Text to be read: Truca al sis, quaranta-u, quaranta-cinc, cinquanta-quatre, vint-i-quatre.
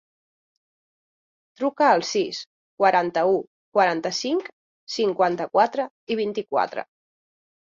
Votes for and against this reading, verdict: 0, 2, rejected